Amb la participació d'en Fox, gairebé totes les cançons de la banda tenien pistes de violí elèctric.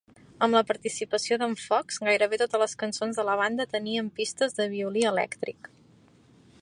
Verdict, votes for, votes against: rejected, 1, 2